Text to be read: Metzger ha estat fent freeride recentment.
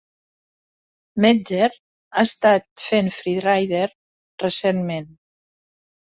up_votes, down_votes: 2, 1